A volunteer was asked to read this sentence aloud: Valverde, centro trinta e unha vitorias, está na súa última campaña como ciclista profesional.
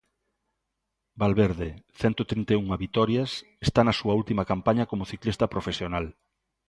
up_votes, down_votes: 3, 0